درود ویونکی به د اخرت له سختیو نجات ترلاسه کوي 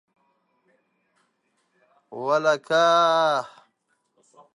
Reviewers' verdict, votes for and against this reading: rejected, 0, 2